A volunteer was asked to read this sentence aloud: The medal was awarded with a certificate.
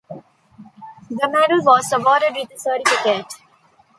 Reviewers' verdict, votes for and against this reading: rejected, 1, 2